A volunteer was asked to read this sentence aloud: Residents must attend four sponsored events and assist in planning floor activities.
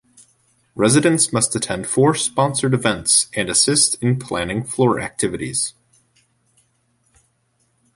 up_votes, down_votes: 2, 0